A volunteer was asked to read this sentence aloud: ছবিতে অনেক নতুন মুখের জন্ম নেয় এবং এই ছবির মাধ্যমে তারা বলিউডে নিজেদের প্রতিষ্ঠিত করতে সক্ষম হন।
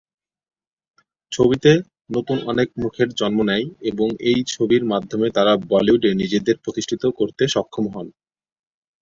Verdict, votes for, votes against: rejected, 7, 8